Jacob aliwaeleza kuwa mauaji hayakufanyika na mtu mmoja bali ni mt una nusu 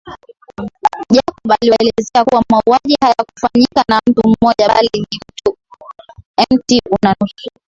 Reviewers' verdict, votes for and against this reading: accepted, 2, 0